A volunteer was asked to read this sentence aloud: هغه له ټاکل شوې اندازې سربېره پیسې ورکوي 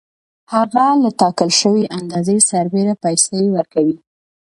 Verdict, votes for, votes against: accepted, 2, 0